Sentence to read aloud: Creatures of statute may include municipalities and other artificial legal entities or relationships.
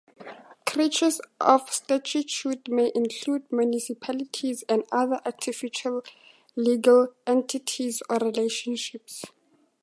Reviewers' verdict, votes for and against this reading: rejected, 0, 2